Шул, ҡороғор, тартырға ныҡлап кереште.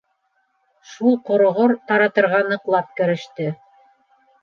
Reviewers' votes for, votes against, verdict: 0, 2, rejected